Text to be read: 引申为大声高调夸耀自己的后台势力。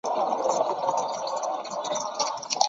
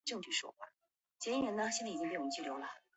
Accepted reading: second